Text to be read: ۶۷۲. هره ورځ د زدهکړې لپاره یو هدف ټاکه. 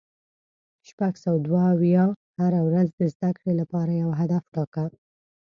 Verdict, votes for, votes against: rejected, 0, 2